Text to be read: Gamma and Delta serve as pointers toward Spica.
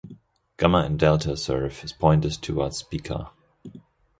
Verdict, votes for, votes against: accepted, 2, 0